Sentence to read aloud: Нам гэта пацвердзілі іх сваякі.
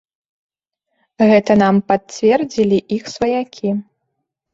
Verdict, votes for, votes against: rejected, 0, 2